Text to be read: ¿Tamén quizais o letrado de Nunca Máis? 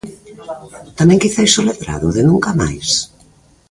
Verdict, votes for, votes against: rejected, 1, 2